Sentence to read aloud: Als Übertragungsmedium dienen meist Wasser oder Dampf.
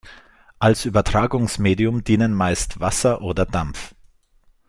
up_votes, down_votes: 2, 0